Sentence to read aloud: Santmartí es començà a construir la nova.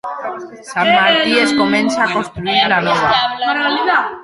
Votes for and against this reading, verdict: 1, 4, rejected